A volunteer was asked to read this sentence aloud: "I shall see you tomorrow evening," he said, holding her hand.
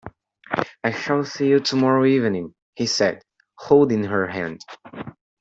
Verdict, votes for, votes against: accepted, 2, 1